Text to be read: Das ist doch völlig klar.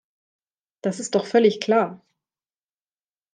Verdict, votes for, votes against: accepted, 2, 0